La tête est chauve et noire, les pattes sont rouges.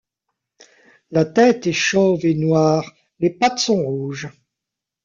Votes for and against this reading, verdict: 1, 2, rejected